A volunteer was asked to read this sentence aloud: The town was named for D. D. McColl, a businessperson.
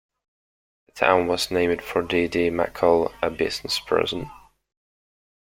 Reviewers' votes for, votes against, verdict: 1, 2, rejected